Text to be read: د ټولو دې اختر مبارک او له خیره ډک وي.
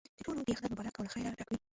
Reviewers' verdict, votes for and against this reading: rejected, 0, 2